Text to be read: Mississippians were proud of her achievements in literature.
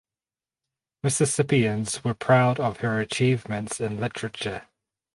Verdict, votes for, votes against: accepted, 4, 0